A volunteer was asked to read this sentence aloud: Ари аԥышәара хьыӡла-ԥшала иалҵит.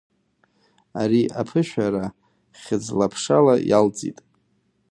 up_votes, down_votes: 2, 0